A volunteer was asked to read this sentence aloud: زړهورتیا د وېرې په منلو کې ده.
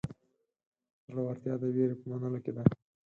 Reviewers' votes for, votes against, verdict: 2, 4, rejected